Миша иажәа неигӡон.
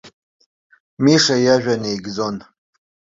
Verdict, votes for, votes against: accepted, 2, 0